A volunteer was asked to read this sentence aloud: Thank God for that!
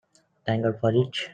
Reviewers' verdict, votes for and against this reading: rejected, 0, 2